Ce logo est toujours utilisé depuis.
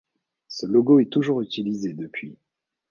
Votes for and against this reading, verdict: 2, 0, accepted